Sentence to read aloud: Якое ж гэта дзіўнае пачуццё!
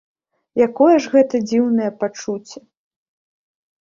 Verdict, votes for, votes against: rejected, 0, 2